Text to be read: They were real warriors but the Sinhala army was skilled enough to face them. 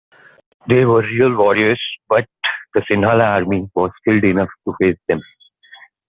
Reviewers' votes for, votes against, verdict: 1, 2, rejected